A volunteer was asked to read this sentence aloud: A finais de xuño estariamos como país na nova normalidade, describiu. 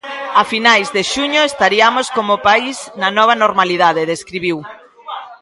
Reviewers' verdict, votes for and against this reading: rejected, 2, 3